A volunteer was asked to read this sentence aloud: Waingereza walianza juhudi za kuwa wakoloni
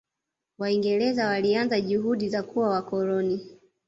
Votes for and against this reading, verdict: 1, 2, rejected